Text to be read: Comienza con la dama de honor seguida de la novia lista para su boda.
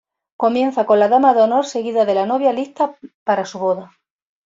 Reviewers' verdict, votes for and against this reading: accepted, 2, 1